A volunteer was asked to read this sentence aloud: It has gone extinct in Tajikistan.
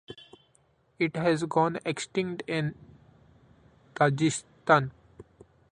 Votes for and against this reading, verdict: 2, 0, accepted